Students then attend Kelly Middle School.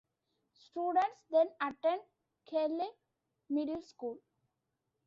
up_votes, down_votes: 2, 0